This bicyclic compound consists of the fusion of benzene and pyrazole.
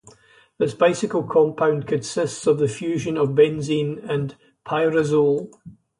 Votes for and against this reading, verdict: 2, 2, rejected